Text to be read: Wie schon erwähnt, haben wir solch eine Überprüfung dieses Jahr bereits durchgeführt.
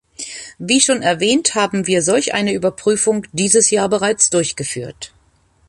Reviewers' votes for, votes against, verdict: 2, 0, accepted